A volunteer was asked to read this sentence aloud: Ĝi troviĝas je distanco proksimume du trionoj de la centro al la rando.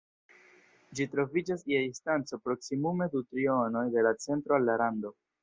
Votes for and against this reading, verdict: 2, 0, accepted